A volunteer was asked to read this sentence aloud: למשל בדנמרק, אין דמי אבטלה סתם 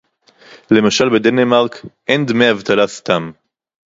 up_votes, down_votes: 2, 0